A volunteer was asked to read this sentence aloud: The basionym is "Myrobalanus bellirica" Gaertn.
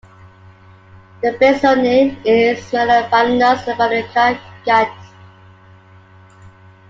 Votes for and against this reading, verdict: 0, 2, rejected